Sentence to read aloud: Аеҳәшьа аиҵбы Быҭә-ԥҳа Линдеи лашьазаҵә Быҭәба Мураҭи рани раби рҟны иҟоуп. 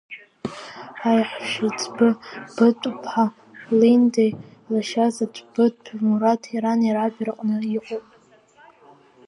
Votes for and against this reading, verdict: 1, 2, rejected